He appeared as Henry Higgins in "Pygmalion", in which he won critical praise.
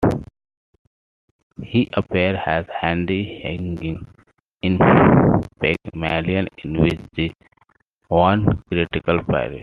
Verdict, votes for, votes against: rejected, 0, 2